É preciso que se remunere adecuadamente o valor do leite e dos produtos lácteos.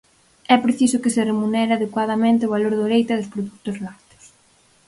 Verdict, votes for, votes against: accepted, 4, 2